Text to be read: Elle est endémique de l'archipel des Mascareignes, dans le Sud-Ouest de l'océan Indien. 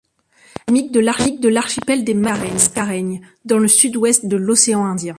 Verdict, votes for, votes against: rejected, 0, 2